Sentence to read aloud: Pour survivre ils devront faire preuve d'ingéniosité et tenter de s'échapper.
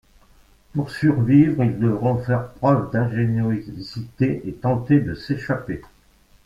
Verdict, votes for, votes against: rejected, 0, 2